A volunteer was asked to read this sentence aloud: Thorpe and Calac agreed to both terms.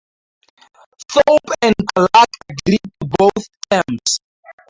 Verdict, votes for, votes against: rejected, 0, 2